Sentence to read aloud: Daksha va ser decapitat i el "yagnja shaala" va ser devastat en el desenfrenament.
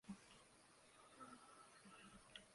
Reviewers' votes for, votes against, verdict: 0, 2, rejected